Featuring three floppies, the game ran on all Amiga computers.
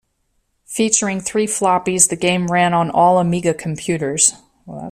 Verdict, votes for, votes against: rejected, 1, 2